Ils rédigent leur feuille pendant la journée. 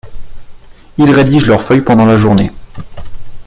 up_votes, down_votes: 2, 0